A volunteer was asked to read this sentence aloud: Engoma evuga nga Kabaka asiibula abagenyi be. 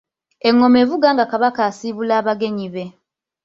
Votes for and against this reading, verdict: 2, 1, accepted